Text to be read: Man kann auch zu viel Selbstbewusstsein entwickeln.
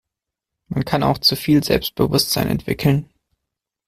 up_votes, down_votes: 2, 0